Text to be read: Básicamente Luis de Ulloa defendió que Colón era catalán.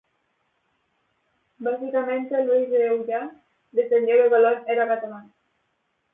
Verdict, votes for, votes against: rejected, 2, 2